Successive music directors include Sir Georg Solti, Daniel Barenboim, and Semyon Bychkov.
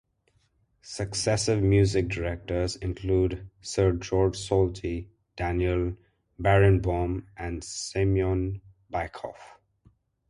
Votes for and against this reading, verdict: 2, 0, accepted